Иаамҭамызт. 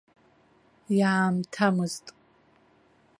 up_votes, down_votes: 3, 0